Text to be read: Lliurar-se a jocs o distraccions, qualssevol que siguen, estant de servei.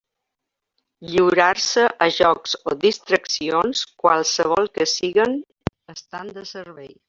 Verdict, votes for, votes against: accepted, 2, 1